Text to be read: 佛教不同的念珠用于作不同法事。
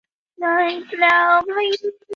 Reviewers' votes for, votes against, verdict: 0, 5, rejected